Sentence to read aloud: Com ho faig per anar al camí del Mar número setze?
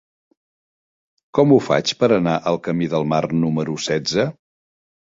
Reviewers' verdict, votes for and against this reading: accepted, 3, 0